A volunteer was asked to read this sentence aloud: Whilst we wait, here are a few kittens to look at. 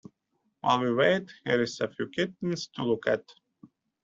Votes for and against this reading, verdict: 1, 2, rejected